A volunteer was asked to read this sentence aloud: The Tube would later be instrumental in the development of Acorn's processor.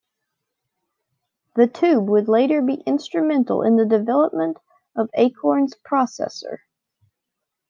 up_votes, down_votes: 2, 0